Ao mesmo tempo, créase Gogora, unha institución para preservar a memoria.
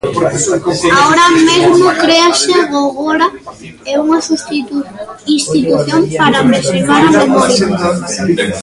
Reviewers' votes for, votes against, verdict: 0, 2, rejected